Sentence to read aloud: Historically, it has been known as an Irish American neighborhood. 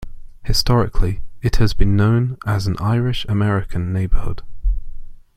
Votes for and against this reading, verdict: 2, 0, accepted